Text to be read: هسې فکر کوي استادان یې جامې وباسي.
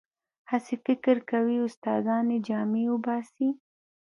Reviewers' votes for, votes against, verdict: 2, 0, accepted